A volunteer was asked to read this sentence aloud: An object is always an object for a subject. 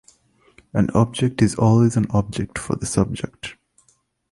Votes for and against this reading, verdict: 0, 2, rejected